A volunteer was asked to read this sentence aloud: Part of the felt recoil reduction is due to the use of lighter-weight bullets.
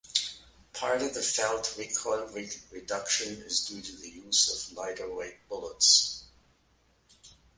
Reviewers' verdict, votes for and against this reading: accepted, 2, 1